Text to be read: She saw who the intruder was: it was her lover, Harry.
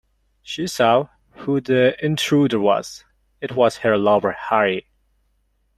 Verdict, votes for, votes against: accepted, 2, 1